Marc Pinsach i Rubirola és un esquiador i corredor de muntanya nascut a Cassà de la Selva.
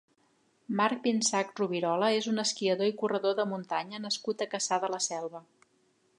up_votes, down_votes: 1, 3